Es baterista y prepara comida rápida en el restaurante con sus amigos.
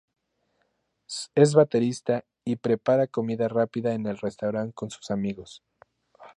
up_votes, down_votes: 2, 2